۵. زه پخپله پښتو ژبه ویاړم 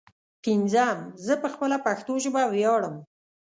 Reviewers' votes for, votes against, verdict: 0, 2, rejected